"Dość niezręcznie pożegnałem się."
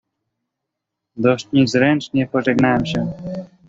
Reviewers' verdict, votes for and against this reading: rejected, 0, 2